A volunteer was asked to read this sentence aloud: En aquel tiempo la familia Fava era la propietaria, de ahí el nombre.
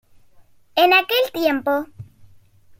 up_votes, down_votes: 1, 2